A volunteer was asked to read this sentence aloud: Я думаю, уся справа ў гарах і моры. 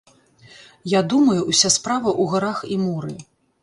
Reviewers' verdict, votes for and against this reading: rejected, 1, 2